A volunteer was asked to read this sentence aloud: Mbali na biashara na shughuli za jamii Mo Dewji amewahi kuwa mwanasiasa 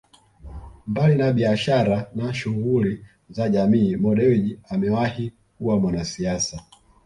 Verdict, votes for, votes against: rejected, 1, 2